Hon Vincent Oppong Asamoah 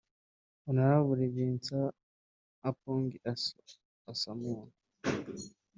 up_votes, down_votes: 0, 2